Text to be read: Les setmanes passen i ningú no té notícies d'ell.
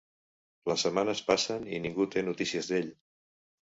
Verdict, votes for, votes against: rejected, 1, 2